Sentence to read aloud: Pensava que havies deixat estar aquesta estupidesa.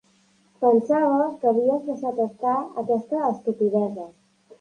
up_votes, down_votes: 0, 2